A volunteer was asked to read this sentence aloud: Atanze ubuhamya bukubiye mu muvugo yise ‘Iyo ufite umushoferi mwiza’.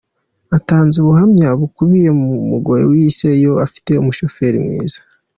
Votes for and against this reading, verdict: 0, 2, rejected